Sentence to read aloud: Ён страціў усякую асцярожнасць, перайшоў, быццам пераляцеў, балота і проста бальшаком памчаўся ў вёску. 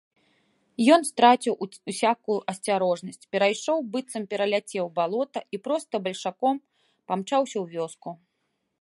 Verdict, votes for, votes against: rejected, 0, 2